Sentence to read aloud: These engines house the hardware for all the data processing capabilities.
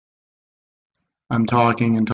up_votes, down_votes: 0, 2